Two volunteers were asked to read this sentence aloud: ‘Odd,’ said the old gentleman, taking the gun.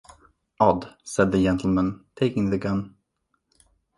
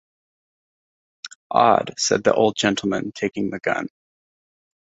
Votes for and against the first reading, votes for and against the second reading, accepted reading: 0, 2, 2, 0, second